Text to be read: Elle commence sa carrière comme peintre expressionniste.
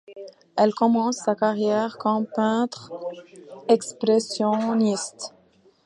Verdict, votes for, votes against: accepted, 2, 0